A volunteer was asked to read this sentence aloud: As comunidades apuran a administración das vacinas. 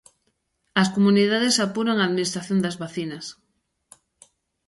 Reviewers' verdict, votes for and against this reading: accepted, 2, 0